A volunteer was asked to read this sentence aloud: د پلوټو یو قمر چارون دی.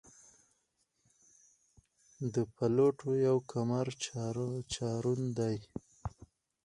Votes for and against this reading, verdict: 0, 4, rejected